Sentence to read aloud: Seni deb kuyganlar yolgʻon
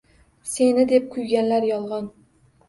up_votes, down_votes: 1, 2